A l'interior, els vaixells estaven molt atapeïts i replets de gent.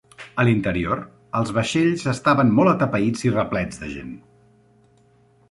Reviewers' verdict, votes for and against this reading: accepted, 2, 0